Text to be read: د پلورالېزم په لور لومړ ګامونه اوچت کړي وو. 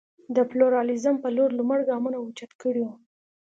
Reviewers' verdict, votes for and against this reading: accepted, 2, 0